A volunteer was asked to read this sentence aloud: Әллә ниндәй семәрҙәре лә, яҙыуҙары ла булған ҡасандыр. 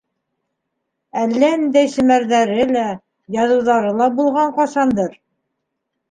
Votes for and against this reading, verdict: 2, 1, accepted